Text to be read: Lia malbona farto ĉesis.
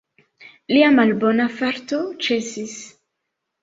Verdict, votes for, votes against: accepted, 2, 0